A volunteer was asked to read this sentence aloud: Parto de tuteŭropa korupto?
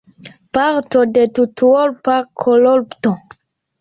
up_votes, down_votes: 1, 2